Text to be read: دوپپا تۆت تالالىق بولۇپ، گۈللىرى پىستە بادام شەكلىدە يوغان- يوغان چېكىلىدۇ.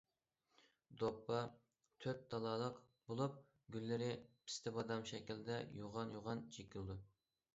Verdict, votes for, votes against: accepted, 2, 1